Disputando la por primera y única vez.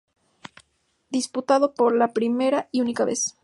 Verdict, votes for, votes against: rejected, 0, 2